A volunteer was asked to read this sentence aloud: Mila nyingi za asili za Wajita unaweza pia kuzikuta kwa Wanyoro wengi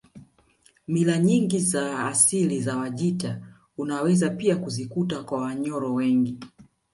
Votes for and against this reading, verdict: 2, 0, accepted